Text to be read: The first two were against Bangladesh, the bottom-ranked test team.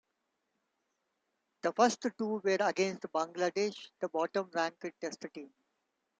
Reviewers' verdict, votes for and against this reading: rejected, 1, 2